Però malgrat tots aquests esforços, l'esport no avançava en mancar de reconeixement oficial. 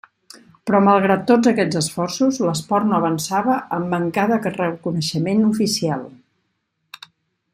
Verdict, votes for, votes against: rejected, 1, 2